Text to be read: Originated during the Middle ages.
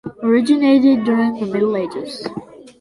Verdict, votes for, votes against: accepted, 2, 0